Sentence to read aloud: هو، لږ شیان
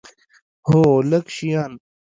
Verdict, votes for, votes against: rejected, 0, 2